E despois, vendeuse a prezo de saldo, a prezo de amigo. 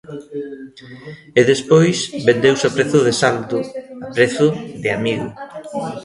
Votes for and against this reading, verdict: 1, 2, rejected